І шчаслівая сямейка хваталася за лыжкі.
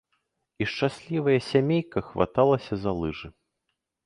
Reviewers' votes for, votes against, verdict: 1, 2, rejected